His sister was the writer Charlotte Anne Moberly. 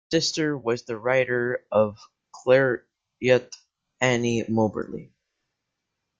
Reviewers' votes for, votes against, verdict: 0, 2, rejected